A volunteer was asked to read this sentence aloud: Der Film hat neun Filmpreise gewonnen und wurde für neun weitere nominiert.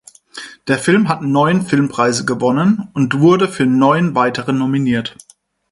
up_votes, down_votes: 4, 0